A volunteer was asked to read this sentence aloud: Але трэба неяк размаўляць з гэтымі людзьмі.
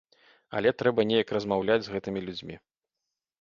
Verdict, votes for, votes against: accepted, 2, 0